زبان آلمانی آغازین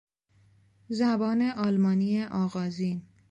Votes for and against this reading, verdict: 2, 0, accepted